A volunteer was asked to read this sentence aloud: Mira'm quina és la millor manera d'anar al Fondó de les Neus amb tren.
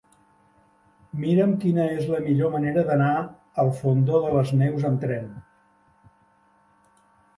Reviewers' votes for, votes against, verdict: 3, 1, accepted